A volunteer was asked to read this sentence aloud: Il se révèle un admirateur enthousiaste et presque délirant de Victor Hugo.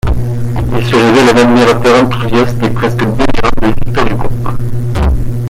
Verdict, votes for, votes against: accepted, 2, 1